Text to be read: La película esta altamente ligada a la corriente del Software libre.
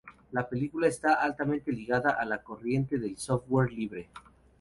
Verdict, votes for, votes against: rejected, 0, 2